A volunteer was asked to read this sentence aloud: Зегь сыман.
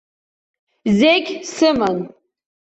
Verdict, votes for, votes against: accepted, 2, 0